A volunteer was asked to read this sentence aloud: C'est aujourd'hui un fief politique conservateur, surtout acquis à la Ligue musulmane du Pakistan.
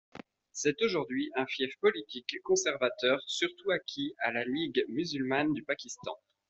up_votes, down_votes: 2, 0